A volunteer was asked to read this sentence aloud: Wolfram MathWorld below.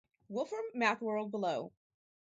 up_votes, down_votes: 4, 0